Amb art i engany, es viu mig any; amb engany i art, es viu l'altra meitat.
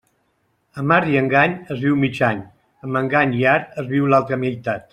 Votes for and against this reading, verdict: 2, 0, accepted